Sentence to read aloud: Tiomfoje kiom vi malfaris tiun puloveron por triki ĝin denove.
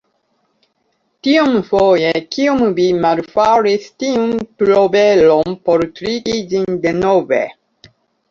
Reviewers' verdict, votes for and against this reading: accepted, 2, 0